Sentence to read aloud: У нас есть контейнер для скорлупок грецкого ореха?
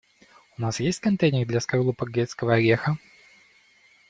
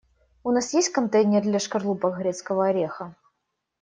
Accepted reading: first